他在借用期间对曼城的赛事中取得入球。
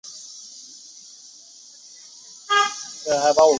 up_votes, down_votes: 0, 2